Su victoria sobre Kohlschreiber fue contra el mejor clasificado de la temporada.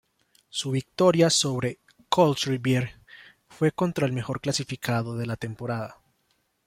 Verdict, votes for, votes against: rejected, 1, 2